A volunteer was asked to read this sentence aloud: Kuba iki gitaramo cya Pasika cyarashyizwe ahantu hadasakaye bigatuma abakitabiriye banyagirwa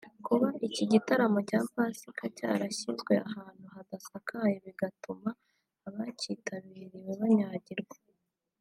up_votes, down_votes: 2, 1